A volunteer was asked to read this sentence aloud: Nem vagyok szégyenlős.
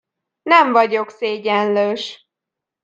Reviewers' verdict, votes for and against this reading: accepted, 2, 0